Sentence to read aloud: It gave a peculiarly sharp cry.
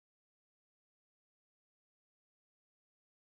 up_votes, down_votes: 0, 3